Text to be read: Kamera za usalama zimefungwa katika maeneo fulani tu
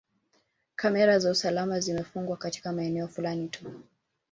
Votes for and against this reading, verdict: 3, 1, accepted